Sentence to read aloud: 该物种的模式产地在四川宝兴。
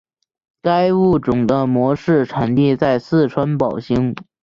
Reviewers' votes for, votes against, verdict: 2, 0, accepted